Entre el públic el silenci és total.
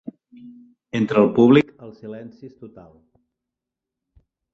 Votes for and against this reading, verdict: 0, 2, rejected